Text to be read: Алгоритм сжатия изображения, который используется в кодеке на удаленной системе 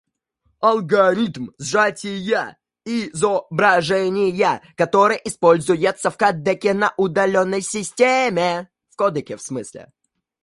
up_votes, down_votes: 1, 2